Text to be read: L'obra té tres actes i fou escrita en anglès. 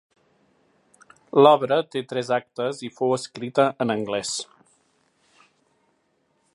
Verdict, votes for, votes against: accepted, 2, 0